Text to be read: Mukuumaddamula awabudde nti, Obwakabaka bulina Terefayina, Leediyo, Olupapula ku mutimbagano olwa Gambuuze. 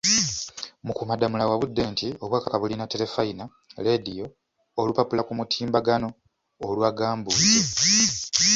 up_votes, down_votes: 1, 2